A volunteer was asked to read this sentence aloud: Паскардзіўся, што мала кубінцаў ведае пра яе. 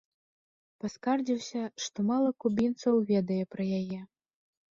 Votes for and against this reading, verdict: 3, 0, accepted